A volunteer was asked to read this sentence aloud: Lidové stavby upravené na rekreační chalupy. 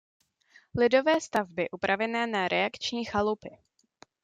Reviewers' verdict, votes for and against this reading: rejected, 0, 2